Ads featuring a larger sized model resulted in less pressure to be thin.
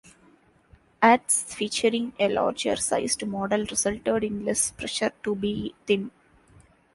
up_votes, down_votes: 0, 3